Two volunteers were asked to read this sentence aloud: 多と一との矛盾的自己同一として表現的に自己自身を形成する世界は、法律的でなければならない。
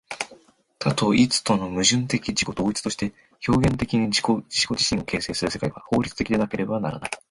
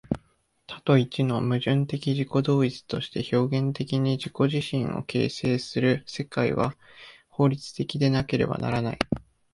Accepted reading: first